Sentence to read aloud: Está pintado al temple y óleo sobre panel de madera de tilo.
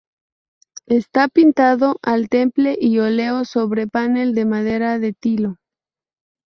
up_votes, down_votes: 0, 2